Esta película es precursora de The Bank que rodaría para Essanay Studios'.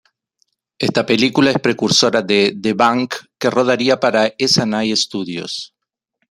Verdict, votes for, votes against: accepted, 2, 0